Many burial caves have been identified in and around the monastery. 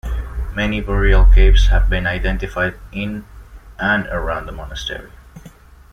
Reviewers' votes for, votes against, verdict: 1, 2, rejected